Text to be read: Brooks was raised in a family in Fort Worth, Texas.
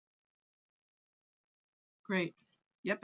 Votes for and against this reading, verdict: 0, 2, rejected